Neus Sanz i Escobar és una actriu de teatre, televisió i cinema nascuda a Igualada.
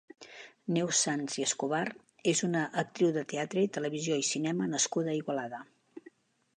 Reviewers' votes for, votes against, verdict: 6, 2, accepted